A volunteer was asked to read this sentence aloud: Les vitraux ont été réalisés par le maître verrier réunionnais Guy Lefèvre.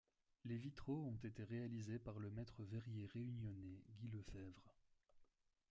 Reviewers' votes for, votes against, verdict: 2, 1, accepted